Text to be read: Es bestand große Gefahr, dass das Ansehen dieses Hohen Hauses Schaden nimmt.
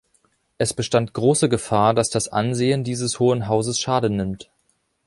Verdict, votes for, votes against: accepted, 3, 0